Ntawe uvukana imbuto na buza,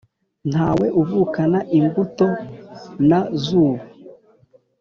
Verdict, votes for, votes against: rejected, 4, 4